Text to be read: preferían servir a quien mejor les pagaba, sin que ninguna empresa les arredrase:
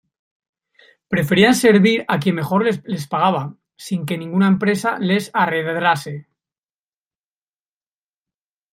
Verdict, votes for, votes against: rejected, 1, 2